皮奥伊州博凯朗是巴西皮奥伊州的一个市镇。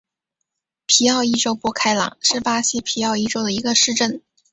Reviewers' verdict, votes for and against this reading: accepted, 2, 0